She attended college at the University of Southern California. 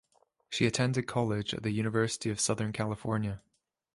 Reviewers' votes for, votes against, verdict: 2, 0, accepted